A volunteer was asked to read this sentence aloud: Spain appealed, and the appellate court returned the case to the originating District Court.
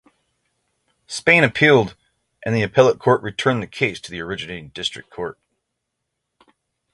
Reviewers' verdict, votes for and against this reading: accepted, 3, 0